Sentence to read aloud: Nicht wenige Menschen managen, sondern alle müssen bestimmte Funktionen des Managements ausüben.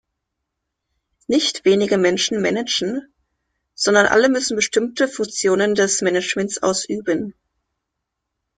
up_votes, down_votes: 1, 2